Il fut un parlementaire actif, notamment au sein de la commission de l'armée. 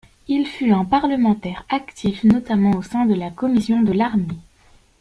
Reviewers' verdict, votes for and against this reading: accepted, 2, 0